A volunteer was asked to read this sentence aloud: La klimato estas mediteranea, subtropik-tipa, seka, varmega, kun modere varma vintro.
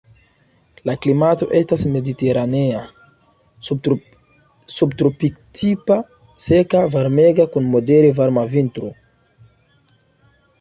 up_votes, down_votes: 1, 2